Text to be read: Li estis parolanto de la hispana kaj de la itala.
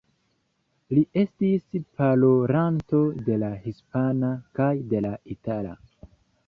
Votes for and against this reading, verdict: 1, 2, rejected